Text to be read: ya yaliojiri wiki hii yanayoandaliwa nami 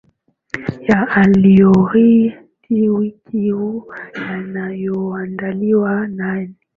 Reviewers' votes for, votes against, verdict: 3, 2, accepted